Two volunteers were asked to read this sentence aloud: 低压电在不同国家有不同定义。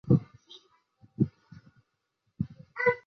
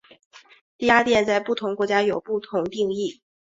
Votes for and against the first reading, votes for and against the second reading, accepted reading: 0, 2, 2, 1, second